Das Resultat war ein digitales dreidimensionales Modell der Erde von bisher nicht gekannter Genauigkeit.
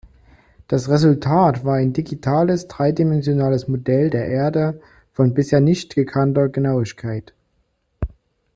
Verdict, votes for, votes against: accepted, 2, 0